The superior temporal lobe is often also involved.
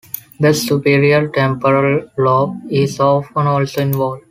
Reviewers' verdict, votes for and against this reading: accepted, 2, 0